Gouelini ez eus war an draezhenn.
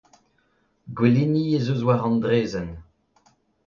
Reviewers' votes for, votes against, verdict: 2, 0, accepted